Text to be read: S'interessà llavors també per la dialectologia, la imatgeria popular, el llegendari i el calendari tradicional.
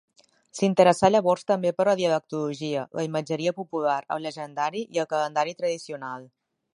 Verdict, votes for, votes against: accepted, 3, 2